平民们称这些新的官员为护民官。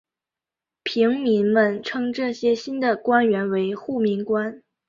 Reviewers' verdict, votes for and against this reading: accepted, 6, 0